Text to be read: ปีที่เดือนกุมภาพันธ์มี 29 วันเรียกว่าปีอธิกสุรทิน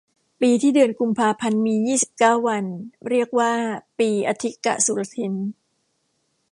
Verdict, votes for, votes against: rejected, 0, 2